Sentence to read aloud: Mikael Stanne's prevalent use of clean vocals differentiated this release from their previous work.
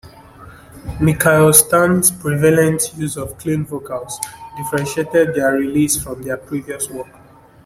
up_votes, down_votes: 1, 2